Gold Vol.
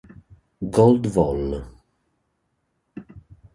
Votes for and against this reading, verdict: 2, 0, accepted